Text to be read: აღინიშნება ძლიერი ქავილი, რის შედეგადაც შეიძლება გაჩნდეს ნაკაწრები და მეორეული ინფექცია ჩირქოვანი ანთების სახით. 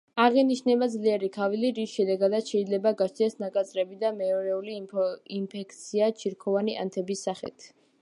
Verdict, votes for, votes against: rejected, 1, 2